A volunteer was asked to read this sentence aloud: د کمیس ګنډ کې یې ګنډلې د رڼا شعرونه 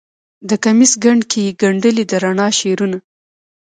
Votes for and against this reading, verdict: 2, 0, accepted